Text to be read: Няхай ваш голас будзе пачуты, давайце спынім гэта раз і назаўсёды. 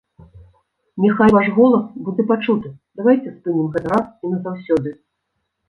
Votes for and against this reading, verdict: 0, 2, rejected